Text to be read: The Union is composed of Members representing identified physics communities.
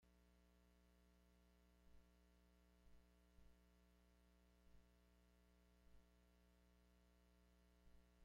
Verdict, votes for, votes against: rejected, 1, 2